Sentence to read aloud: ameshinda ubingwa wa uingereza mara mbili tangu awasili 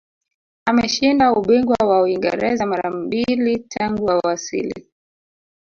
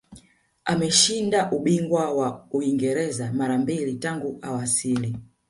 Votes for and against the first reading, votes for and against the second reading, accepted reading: 1, 2, 3, 0, second